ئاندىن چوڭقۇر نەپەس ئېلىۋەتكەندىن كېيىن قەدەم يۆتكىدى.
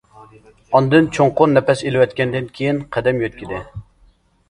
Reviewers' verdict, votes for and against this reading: accepted, 2, 0